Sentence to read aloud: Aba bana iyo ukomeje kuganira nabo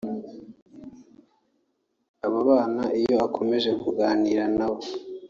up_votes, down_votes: 0, 2